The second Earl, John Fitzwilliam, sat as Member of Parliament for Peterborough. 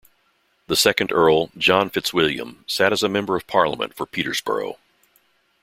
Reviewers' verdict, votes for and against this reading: rejected, 0, 2